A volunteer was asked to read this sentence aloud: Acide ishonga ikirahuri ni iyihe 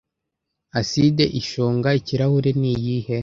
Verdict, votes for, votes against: accepted, 2, 0